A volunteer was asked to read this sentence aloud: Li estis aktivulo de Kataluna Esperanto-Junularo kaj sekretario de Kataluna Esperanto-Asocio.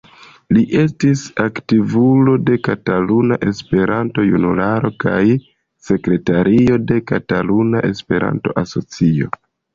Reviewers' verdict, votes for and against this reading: rejected, 1, 2